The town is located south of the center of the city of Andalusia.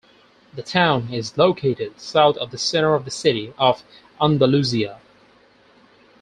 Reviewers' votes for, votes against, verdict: 4, 0, accepted